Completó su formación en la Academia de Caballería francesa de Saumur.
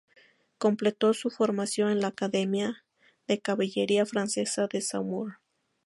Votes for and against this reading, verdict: 2, 0, accepted